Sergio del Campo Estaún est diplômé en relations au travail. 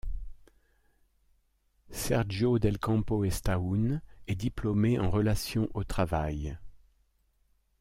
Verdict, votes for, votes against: accepted, 2, 0